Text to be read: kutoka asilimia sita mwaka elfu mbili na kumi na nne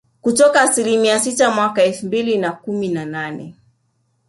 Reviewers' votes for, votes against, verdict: 1, 2, rejected